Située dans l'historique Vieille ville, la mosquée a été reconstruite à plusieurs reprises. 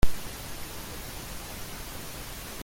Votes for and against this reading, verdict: 0, 2, rejected